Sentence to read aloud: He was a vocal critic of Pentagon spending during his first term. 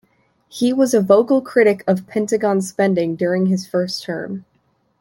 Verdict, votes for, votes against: accepted, 3, 0